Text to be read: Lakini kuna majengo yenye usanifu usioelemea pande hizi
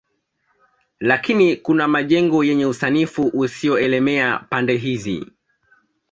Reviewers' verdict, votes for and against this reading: accepted, 2, 1